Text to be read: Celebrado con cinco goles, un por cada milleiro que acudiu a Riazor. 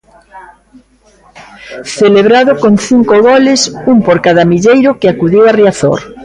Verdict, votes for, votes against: accepted, 2, 0